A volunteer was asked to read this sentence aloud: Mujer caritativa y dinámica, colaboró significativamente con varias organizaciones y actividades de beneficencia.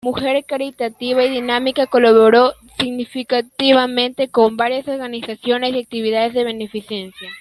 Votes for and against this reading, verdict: 0, 2, rejected